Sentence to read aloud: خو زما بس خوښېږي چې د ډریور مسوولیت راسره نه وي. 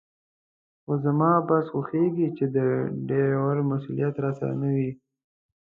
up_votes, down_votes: 2, 0